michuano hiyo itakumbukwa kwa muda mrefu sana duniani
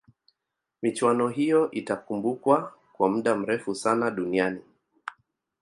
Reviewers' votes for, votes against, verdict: 0, 2, rejected